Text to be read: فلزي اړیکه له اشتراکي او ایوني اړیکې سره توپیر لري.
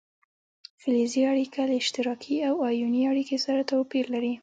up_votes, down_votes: 2, 1